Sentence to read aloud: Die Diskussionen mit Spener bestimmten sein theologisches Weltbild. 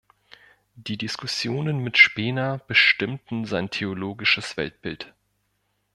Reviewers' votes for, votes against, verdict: 4, 1, accepted